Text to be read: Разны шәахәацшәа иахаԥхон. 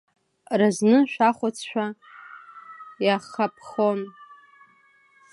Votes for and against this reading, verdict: 0, 2, rejected